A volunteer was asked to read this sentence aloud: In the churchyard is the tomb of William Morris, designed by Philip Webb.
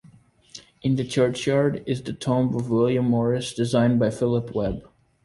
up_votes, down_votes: 2, 1